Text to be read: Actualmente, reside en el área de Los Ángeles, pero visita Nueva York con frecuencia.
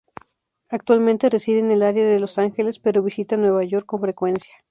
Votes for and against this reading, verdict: 2, 0, accepted